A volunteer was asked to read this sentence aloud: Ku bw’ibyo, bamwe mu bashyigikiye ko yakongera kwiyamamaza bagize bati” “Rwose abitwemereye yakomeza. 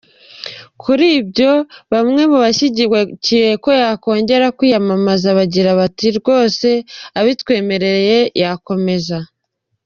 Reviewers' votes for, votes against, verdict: 0, 2, rejected